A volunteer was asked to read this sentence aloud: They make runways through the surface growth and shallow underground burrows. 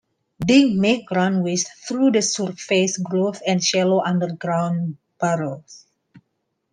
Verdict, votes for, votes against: accepted, 2, 1